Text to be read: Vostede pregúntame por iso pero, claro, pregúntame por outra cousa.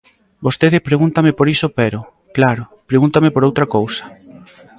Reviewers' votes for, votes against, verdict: 2, 0, accepted